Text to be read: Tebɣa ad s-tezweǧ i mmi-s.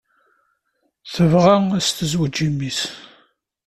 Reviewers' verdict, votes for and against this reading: accepted, 2, 0